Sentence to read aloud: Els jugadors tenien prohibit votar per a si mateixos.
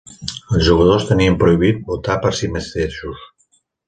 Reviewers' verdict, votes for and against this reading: rejected, 2, 3